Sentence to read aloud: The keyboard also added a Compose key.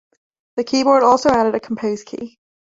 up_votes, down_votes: 2, 1